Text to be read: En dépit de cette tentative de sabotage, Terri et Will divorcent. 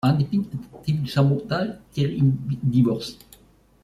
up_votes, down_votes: 0, 2